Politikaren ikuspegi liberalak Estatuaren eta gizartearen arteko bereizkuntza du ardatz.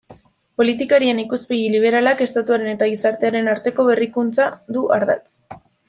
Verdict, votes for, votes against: rejected, 0, 2